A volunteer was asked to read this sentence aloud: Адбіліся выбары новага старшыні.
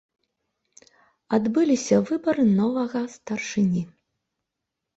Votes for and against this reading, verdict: 0, 2, rejected